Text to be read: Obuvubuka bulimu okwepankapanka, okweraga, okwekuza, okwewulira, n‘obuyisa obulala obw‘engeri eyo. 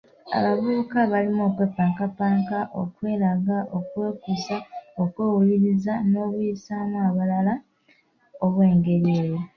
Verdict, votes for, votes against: rejected, 1, 2